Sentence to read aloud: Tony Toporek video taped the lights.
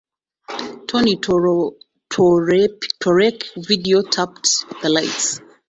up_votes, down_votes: 0, 2